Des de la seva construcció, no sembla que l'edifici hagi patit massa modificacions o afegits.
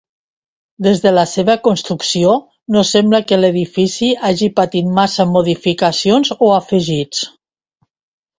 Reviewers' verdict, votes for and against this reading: accepted, 2, 0